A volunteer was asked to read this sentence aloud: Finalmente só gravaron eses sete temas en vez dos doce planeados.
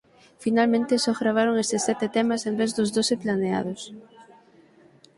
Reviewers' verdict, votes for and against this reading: accepted, 9, 0